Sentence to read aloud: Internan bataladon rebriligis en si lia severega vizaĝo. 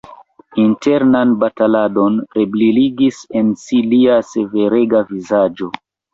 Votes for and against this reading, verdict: 2, 0, accepted